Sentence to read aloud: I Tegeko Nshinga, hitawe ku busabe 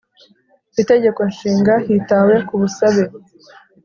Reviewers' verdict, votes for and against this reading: accepted, 3, 0